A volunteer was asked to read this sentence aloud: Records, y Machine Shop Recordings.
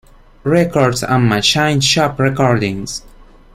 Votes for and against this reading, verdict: 1, 2, rejected